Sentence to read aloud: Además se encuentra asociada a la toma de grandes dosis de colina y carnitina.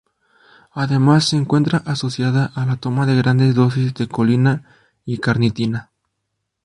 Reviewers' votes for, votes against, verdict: 2, 0, accepted